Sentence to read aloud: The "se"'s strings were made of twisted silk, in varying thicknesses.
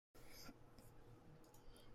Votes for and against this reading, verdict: 0, 2, rejected